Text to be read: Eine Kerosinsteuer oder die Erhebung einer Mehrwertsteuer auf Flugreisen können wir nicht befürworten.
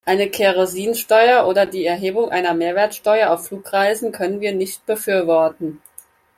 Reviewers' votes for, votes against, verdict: 4, 0, accepted